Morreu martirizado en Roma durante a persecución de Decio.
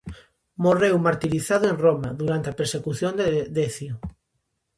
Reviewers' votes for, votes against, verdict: 0, 2, rejected